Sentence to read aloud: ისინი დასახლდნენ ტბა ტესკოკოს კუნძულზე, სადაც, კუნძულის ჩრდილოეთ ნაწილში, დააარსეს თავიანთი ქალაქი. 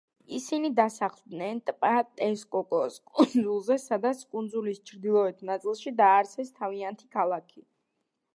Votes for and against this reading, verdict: 2, 0, accepted